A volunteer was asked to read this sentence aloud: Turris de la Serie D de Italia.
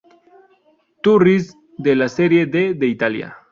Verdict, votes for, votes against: accepted, 2, 0